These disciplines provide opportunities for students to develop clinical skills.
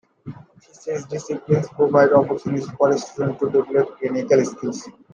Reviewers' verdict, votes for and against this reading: rejected, 1, 2